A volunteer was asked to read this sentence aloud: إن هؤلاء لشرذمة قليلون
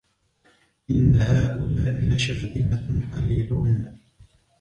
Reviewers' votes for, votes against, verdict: 0, 2, rejected